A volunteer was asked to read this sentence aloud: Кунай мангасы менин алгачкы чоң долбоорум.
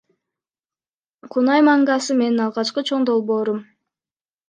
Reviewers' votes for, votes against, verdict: 1, 2, rejected